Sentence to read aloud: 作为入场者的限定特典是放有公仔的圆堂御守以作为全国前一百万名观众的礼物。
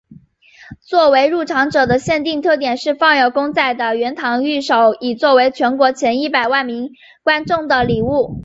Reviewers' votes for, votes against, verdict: 2, 0, accepted